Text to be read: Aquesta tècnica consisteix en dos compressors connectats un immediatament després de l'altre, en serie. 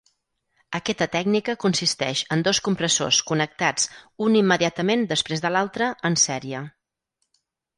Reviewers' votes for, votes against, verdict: 2, 4, rejected